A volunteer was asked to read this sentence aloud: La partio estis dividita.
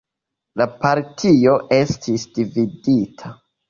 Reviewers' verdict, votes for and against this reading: accepted, 2, 0